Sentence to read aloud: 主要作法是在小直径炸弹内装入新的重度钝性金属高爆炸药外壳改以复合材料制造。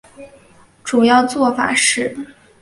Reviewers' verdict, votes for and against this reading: rejected, 1, 6